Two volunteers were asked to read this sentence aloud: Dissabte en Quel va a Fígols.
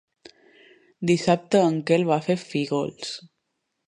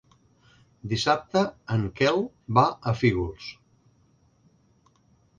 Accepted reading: second